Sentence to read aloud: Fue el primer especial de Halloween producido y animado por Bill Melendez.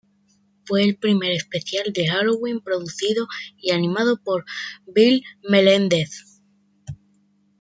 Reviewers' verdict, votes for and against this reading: accepted, 2, 0